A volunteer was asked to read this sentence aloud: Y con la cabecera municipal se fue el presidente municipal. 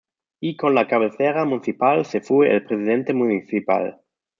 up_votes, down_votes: 2, 0